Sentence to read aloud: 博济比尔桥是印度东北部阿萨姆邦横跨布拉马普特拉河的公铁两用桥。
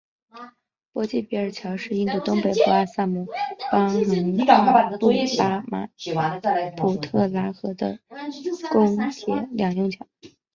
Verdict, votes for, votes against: rejected, 0, 2